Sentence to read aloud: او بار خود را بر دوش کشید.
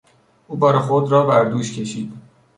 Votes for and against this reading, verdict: 2, 0, accepted